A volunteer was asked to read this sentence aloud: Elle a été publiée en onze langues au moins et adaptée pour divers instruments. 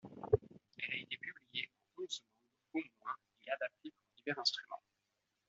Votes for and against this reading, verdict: 0, 2, rejected